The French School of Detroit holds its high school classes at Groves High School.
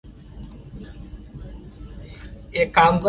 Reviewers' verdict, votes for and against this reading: rejected, 0, 2